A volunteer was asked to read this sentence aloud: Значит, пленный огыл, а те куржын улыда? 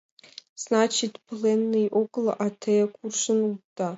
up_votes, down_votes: 1, 2